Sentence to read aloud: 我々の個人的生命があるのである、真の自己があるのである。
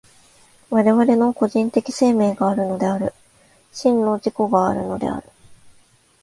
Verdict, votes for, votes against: accepted, 2, 0